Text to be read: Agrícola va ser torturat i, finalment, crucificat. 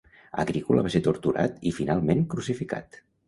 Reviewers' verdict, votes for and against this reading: accepted, 2, 0